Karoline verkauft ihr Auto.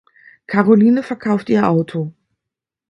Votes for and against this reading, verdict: 2, 0, accepted